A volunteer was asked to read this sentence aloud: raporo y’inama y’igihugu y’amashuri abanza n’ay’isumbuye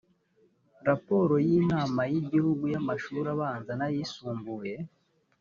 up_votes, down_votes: 2, 0